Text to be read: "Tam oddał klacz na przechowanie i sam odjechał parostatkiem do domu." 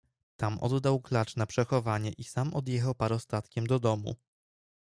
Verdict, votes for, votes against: accepted, 3, 0